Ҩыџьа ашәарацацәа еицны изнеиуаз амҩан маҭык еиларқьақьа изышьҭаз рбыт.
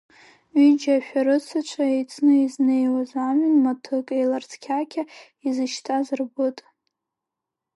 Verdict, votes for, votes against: rejected, 0, 2